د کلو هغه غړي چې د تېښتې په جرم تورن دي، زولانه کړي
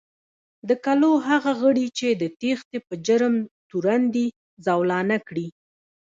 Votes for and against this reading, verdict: 0, 2, rejected